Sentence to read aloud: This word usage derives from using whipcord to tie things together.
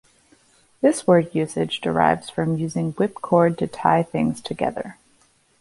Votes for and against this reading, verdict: 2, 1, accepted